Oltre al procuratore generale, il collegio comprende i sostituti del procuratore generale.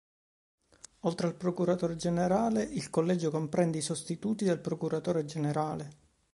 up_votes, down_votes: 3, 0